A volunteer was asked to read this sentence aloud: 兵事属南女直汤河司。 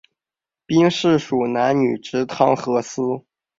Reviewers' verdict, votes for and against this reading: accepted, 3, 1